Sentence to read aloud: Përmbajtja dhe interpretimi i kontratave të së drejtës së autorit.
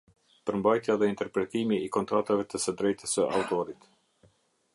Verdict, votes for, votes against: accepted, 2, 0